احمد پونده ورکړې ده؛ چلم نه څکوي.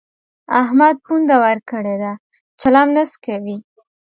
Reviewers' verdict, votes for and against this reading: accepted, 2, 0